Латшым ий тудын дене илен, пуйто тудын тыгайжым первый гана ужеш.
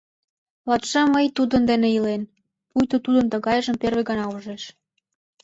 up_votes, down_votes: 0, 2